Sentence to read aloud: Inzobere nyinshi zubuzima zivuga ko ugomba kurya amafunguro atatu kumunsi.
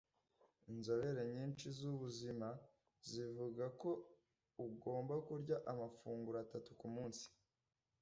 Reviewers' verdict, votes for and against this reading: accepted, 2, 0